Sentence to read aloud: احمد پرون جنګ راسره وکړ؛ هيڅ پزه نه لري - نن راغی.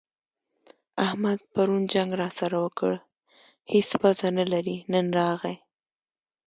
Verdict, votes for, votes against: accepted, 3, 0